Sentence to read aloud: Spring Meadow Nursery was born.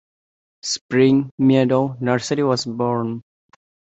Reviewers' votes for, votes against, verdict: 3, 1, accepted